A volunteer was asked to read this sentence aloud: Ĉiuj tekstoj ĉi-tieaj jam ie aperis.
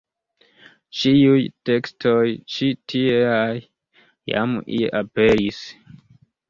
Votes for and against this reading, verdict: 1, 2, rejected